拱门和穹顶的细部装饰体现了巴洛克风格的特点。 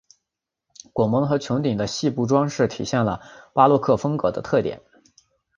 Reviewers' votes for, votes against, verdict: 2, 0, accepted